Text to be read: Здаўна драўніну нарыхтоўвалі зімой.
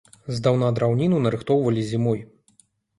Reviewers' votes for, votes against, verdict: 2, 0, accepted